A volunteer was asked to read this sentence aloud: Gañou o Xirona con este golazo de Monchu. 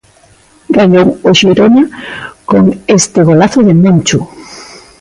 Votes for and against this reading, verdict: 2, 0, accepted